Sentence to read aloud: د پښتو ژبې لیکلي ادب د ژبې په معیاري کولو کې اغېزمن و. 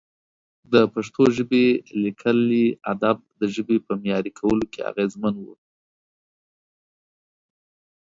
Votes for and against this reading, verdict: 2, 0, accepted